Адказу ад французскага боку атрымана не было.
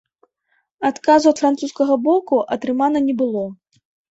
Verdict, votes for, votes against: accepted, 2, 1